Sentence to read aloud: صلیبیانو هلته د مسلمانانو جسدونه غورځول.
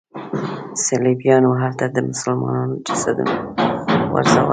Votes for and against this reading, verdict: 2, 3, rejected